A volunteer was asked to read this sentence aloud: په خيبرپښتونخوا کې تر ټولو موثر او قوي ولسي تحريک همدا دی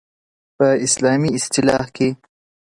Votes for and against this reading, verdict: 1, 2, rejected